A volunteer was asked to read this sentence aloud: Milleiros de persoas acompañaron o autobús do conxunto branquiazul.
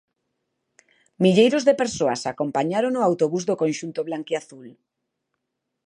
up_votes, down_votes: 0, 2